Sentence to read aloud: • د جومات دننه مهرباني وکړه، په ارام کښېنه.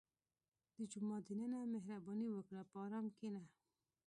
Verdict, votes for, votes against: accepted, 2, 1